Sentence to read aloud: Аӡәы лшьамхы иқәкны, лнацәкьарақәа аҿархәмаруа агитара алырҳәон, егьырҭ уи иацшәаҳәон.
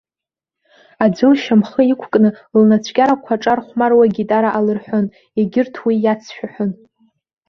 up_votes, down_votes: 2, 0